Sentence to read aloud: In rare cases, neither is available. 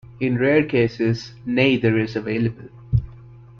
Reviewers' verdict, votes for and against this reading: rejected, 1, 2